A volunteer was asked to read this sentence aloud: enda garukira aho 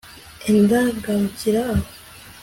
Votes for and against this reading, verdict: 3, 0, accepted